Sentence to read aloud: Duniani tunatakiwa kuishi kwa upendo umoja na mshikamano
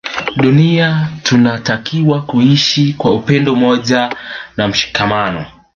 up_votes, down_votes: 1, 2